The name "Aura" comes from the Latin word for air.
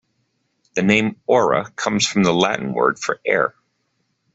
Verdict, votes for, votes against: accepted, 2, 0